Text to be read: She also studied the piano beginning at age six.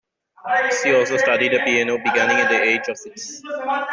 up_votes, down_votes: 1, 2